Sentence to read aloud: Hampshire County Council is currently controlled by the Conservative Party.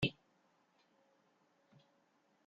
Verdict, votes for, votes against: rejected, 0, 2